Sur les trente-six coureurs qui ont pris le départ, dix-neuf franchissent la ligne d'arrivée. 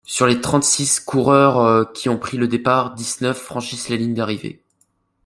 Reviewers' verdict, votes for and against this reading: rejected, 1, 2